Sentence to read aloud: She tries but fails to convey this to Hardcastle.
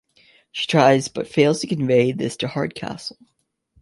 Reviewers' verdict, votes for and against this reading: accepted, 3, 0